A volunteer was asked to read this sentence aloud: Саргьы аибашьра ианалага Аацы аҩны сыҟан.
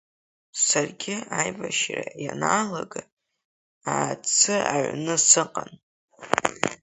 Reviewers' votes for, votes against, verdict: 2, 0, accepted